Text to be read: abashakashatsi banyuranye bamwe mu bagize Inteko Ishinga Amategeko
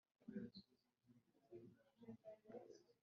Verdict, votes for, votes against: rejected, 1, 3